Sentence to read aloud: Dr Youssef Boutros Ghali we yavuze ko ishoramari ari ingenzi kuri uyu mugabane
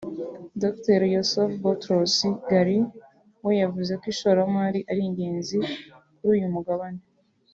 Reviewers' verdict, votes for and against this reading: accepted, 2, 0